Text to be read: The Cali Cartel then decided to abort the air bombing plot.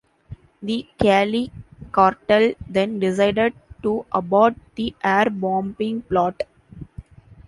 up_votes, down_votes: 2, 0